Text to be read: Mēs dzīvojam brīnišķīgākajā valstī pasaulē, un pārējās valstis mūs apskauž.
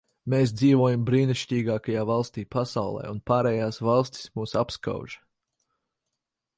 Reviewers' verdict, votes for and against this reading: accepted, 4, 0